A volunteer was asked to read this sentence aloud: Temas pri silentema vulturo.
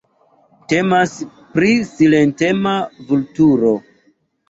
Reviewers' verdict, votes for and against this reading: accepted, 2, 0